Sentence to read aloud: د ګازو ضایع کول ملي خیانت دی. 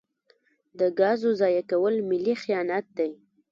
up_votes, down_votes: 1, 2